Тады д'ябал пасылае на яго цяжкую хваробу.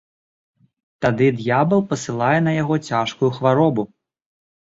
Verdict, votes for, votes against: accepted, 2, 0